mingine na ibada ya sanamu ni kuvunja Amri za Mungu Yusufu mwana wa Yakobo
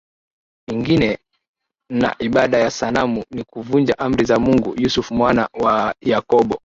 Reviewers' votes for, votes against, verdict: 1, 3, rejected